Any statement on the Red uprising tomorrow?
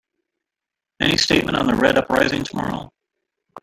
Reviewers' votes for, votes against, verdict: 1, 2, rejected